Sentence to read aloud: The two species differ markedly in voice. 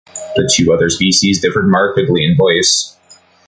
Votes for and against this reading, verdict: 0, 2, rejected